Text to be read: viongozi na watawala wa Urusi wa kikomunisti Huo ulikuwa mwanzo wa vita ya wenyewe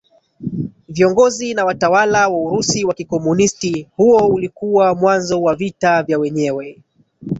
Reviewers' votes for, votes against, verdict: 1, 2, rejected